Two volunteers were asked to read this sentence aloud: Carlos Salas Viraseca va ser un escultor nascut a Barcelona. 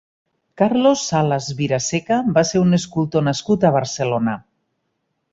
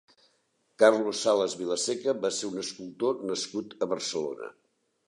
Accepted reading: first